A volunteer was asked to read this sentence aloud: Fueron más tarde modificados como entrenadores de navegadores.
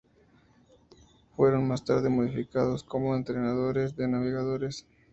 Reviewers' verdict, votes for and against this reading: accepted, 2, 0